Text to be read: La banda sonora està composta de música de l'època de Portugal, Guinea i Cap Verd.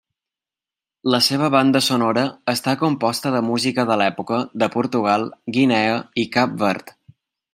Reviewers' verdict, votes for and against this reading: rejected, 0, 2